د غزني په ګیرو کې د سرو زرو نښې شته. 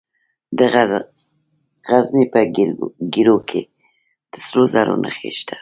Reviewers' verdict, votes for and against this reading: accepted, 2, 0